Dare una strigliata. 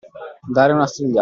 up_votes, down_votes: 0, 2